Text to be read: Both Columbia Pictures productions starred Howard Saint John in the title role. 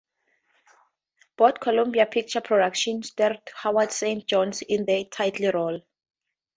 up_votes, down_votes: 2, 4